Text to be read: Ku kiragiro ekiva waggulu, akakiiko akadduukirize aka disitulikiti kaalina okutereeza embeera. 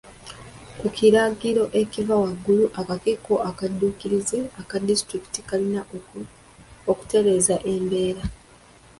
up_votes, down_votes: 2, 1